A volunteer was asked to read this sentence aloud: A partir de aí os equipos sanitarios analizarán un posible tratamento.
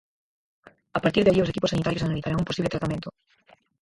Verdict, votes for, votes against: rejected, 0, 4